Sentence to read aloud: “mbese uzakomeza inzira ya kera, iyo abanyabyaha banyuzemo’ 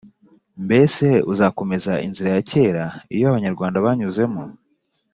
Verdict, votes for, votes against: rejected, 1, 2